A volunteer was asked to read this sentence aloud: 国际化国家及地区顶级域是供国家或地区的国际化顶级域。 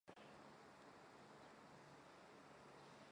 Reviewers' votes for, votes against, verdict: 0, 4, rejected